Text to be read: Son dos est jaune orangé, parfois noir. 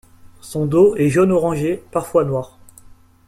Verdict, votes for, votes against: accepted, 2, 0